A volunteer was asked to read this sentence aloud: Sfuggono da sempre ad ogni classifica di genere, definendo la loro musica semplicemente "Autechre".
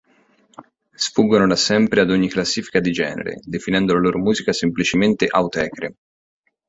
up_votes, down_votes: 2, 0